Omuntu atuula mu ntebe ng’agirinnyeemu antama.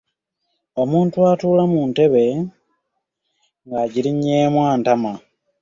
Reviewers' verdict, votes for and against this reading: accepted, 2, 0